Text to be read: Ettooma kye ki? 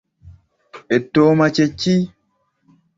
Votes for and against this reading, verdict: 2, 0, accepted